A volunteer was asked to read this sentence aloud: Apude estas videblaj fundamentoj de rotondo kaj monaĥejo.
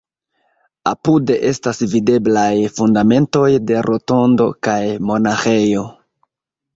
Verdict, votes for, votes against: rejected, 0, 2